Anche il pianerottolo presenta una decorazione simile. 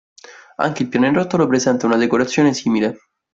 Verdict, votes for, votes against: rejected, 0, 2